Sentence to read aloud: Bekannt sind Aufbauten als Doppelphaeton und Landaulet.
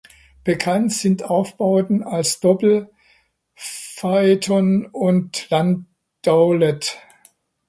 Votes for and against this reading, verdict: 1, 2, rejected